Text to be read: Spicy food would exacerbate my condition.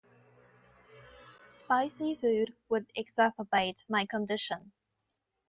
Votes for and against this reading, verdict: 2, 0, accepted